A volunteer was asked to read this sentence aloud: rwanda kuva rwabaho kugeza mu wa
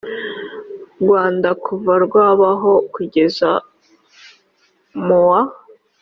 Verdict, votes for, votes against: accepted, 2, 0